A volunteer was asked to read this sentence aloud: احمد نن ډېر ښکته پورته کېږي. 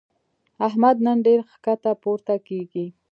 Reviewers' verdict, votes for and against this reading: accepted, 2, 1